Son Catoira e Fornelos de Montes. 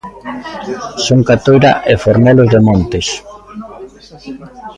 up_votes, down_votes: 1, 2